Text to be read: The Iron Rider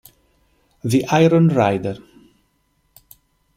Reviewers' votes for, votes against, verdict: 2, 0, accepted